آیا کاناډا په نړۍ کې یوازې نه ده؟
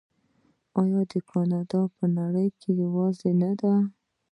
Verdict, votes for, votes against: rejected, 0, 2